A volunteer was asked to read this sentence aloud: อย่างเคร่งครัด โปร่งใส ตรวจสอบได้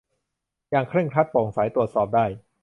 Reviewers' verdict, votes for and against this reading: accepted, 2, 0